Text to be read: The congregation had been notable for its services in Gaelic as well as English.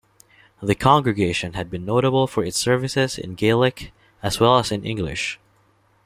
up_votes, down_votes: 0, 2